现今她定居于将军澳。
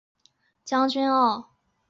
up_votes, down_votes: 1, 6